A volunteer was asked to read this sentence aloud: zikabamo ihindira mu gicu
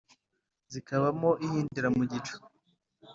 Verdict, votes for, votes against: accepted, 3, 0